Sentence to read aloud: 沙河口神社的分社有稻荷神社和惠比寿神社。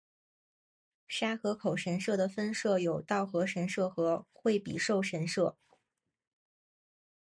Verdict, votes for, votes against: accepted, 4, 1